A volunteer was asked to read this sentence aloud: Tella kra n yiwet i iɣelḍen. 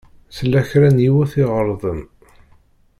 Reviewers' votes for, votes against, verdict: 2, 0, accepted